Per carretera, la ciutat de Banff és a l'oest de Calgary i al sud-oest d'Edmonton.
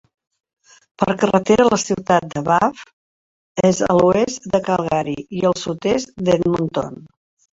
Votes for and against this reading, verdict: 1, 3, rejected